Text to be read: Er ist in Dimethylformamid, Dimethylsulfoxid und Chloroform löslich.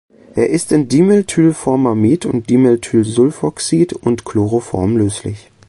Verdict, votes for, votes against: rejected, 1, 2